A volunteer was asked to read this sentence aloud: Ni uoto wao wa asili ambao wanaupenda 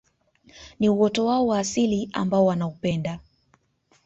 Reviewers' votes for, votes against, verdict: 2, 0, accepted